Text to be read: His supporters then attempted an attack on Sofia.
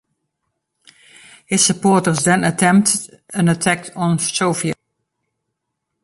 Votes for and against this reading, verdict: 1, 2, rejected